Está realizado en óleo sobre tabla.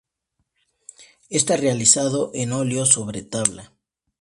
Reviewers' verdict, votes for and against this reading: accepted, 2, 0